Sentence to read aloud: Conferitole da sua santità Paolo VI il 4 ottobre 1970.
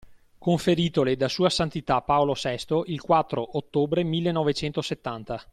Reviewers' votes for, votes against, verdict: 0, 2, rejected